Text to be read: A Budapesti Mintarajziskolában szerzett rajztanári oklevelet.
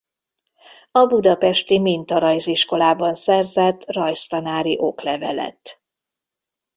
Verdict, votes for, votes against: accepted, 2, 0